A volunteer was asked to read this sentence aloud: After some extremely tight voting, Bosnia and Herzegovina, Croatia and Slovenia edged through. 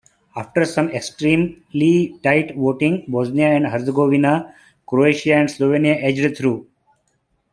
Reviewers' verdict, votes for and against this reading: accepted, 2, 1